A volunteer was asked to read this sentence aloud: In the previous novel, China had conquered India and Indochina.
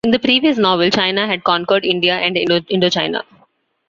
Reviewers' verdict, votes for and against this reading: accepted, 2, 0